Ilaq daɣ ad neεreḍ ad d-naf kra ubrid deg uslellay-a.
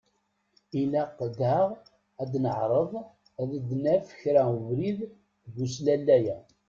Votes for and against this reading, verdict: 2, 1, accepted